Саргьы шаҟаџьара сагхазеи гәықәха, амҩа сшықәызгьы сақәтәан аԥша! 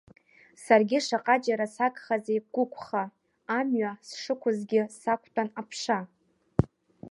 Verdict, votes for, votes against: accepted, 2, 0